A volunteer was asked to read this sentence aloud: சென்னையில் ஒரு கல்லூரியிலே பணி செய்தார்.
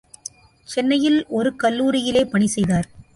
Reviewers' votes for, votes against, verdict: 2, 0, accepted